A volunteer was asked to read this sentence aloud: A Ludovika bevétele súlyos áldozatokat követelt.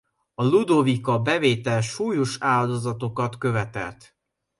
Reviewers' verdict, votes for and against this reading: rejected, 0, 2